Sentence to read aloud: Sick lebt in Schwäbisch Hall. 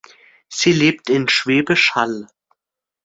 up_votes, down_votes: 0, 2